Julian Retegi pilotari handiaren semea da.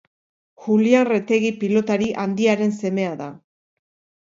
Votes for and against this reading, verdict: 4, 0, accepted